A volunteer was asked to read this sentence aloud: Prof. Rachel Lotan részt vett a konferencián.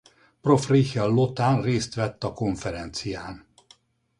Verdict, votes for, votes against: rejected, 2, 2